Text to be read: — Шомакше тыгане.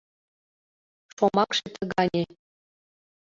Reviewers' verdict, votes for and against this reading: rejected, 1, 2